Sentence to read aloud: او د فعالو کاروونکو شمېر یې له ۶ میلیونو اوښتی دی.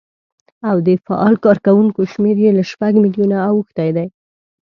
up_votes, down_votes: 0, 2